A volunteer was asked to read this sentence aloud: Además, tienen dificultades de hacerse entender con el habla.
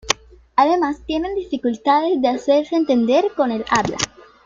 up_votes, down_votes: 2, 0